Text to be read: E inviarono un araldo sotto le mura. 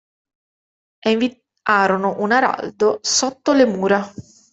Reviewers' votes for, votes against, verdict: 1, 2, rejected